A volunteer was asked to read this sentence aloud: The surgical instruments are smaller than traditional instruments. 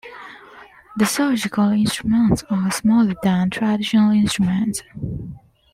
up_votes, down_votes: 2, 1